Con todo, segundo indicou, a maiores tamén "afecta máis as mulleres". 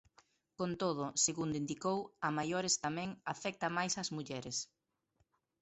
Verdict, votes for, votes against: rejected, 0, 2